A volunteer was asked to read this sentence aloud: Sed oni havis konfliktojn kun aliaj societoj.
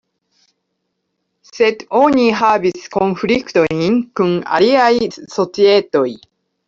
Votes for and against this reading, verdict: 2, 0, accepted